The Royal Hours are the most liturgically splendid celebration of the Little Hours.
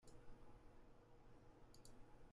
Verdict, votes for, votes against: rejected, 0, 2